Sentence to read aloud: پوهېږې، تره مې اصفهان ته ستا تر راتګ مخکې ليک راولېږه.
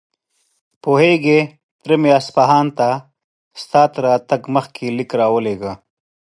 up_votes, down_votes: 2, 0